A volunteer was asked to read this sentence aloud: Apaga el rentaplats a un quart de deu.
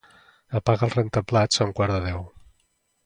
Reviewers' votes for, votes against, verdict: 2, 0, accepted